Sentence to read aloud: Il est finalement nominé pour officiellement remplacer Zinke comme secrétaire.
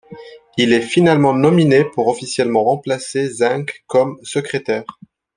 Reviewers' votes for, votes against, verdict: 2, 0, accepted